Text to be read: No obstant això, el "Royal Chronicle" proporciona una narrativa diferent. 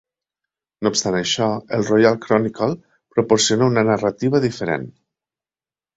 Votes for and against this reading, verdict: 3, 0, accepted